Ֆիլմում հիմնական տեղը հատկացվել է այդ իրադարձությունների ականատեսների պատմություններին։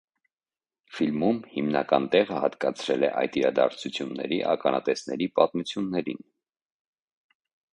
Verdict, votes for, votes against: rejected, 1, 2